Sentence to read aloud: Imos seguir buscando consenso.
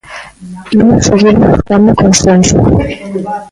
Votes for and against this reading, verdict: 0, 2, rejected